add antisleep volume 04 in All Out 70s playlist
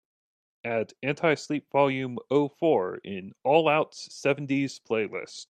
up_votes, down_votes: 0, 2